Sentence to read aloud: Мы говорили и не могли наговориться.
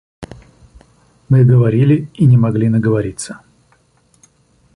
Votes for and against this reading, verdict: 2, 0, accepted